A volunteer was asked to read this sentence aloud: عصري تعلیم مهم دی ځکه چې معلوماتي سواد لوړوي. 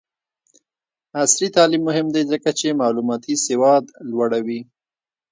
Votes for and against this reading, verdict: 1, 2, rejected